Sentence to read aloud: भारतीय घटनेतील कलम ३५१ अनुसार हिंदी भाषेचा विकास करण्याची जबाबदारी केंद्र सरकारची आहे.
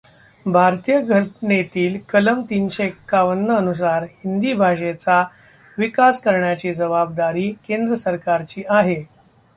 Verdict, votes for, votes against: rejected, 0, 2